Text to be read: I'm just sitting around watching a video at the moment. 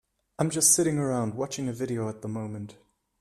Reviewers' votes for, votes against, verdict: 2, 0, accepted